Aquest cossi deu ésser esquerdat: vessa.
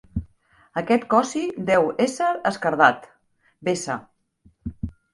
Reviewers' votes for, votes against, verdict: 2, 0, accepted